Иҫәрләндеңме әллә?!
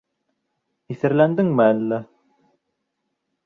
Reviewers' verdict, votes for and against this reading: accepted, 3, 0